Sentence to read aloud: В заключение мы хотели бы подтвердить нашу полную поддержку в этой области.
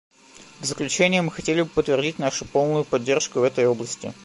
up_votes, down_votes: 2, 1